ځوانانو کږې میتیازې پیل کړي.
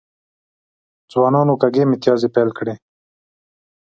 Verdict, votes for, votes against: rejected, 1, 2